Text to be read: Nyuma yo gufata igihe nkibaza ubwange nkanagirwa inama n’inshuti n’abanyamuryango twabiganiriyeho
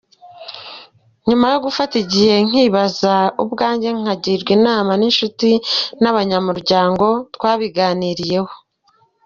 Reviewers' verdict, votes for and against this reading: accepted, 2, 0